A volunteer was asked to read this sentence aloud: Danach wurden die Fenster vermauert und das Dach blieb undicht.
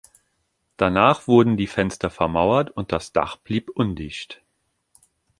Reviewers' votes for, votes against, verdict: 2, 0, accepted